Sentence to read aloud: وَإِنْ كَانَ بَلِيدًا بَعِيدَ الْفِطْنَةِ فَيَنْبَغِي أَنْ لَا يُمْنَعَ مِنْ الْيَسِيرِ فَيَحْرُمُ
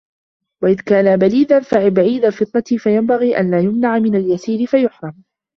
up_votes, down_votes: 0, 2